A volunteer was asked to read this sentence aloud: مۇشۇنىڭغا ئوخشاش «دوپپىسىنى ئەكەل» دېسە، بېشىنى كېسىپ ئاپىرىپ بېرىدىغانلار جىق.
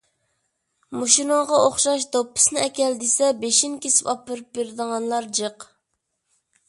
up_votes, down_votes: 2, 0